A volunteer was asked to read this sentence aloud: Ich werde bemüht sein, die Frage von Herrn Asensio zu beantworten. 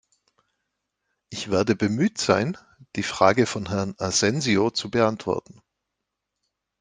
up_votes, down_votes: 2, 0